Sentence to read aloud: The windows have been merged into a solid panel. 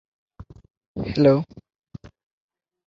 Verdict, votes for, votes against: rejected, 0, 2